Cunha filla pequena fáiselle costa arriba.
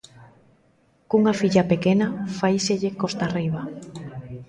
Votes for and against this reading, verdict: 1, 2, rejected